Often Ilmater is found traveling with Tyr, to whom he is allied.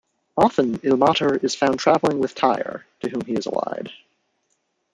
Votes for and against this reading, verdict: 0, 2, rejected